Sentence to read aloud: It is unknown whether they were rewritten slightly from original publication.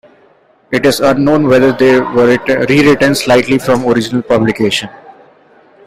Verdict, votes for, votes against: accepted, 2, 0